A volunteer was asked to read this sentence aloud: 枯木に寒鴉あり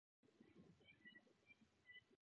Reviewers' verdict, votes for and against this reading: rejected, 0, 2